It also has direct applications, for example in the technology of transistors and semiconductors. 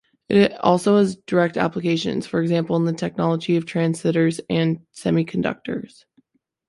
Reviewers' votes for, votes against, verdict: 0, 2, rejected